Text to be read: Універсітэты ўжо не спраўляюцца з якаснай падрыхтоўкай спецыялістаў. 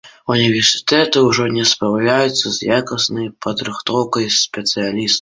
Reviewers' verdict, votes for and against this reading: accepted, 2, 1